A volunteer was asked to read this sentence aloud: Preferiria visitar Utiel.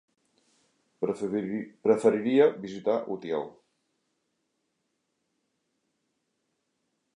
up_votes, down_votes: 0, 2